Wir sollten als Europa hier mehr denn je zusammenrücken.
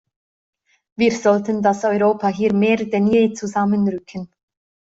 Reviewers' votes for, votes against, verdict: 1, 2, rejected